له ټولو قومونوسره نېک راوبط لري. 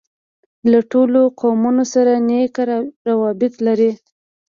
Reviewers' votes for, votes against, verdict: 2, 0, accepted